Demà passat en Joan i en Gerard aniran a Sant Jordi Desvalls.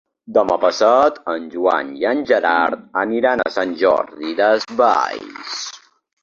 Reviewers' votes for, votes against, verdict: 2, 0, accepted